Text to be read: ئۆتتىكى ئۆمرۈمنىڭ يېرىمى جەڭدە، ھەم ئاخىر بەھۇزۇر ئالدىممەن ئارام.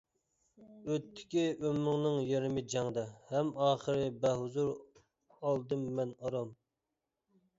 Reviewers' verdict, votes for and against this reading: rejected, 1, 2